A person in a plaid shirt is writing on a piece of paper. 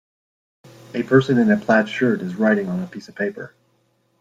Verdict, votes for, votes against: accepted, 2, 0